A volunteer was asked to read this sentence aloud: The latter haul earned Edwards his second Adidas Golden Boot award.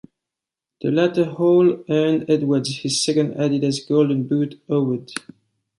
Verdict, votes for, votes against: accepted, 2, 0